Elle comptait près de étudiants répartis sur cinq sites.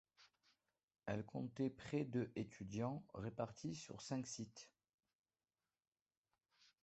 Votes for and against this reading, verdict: 1, 2, rejected